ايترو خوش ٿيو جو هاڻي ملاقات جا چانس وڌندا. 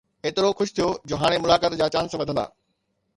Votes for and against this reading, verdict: 2, 0, accepted